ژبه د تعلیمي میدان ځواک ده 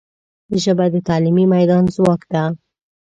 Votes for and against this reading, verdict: 2, 0, accepted